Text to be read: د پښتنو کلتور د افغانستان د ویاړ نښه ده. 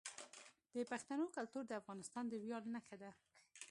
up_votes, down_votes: 2, 0